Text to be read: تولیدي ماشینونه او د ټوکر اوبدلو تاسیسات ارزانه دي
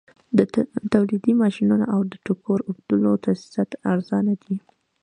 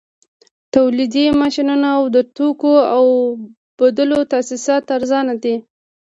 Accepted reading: second